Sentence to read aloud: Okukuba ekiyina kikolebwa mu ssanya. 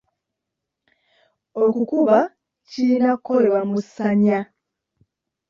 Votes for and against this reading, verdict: 1, 2, rejected